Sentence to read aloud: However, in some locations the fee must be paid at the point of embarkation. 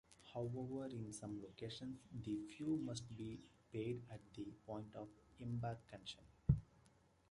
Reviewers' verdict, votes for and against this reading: accepted, 2, 1